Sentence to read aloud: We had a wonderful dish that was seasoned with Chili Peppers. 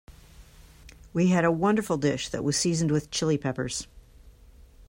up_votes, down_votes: 2, 0